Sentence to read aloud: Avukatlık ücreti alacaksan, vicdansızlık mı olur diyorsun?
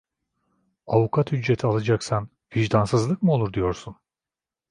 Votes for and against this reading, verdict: 0, 2, rejected